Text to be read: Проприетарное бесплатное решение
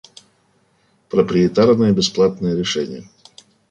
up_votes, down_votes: 2, 0